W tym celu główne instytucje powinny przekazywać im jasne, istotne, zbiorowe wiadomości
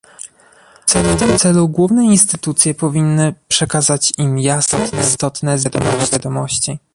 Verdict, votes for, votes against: rejected, 0, 2